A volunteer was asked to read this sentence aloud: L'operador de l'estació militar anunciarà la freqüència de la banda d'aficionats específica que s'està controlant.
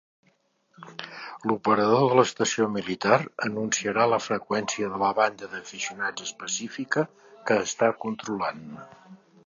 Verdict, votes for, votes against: rejected, 0, 3